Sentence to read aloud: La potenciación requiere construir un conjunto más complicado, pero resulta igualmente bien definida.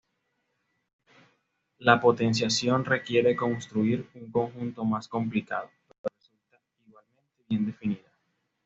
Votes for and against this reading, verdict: 1, 2, rejected